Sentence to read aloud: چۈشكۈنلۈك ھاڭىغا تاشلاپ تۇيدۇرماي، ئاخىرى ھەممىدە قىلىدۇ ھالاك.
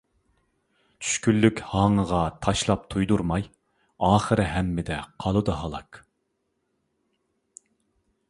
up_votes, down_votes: 0, 2